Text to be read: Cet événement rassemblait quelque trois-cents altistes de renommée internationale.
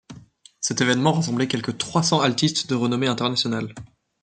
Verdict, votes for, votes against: accepted, 2, 0